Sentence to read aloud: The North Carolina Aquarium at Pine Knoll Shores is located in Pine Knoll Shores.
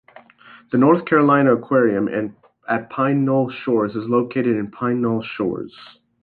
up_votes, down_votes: 1, 2